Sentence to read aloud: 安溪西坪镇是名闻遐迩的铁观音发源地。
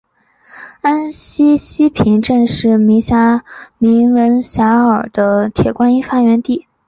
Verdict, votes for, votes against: rejected, 0, 2